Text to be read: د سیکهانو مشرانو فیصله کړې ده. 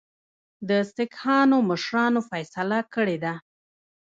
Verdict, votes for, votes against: rejected, 1, 2